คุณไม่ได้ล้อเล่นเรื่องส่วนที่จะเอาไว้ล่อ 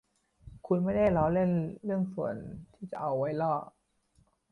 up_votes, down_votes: 2, 1